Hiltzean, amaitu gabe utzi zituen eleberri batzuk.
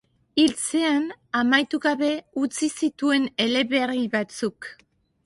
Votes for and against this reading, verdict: 2, 1, accepted